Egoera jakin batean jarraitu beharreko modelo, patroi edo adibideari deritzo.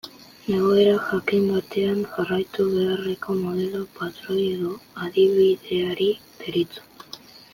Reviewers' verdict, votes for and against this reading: accepted, 5, 1